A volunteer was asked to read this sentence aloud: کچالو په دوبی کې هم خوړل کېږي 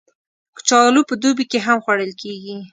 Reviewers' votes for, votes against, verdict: 2, 0, accepted